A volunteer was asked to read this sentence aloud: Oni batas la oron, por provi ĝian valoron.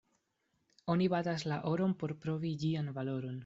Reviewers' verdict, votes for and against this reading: rejected, 1, 2